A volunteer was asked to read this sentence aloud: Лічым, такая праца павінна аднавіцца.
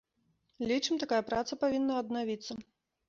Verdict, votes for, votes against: accepted, 2, 0